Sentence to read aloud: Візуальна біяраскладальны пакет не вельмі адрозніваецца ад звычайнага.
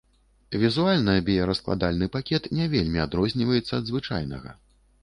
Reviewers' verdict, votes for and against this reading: accepted, 2, 0